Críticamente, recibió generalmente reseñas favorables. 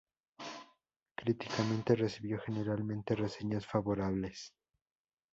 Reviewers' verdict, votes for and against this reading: accepted, 2, 0